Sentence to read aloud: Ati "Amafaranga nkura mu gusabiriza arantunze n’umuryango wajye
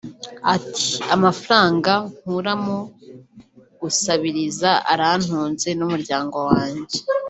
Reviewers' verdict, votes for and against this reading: accepted, 3, 1